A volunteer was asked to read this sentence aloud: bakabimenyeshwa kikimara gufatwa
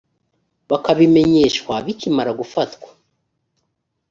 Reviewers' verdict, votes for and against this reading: rejected, 1, 2